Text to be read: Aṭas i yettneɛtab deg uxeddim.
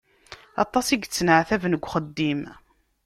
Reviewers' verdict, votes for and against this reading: rejected, 1, 2